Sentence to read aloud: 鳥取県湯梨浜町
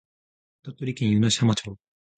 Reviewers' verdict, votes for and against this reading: accepted, 2, 0